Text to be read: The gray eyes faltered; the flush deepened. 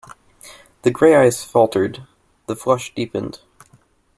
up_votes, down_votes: 2, 0